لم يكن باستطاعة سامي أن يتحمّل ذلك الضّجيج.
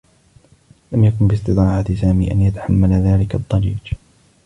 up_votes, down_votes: 2, 0